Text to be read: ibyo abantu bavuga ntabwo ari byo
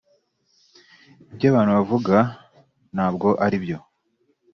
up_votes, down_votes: 3, 0